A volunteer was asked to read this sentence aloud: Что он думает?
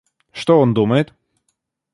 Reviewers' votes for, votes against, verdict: 2, 0, accepted